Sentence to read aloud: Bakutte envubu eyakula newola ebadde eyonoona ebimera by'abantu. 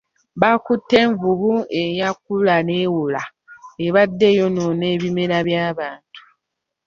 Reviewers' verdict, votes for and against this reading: accepted, 2, 0